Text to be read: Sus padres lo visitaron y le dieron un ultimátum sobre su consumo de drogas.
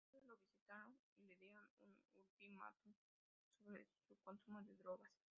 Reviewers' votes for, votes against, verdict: 0, 2, rejected